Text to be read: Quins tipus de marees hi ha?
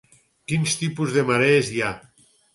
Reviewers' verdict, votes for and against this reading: accepted, 4, 2